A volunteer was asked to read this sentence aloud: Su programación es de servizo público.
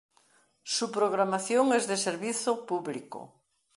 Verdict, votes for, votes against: accepted, 2, 1